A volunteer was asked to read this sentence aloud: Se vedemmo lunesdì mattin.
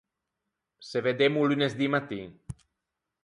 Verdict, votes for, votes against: rejected, 2, 4